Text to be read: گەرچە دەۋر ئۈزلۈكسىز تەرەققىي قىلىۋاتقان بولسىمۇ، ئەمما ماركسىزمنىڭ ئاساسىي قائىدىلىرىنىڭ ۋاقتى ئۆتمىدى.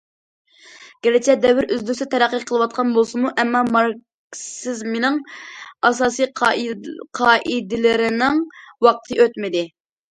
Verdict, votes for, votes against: rejected, 0, 2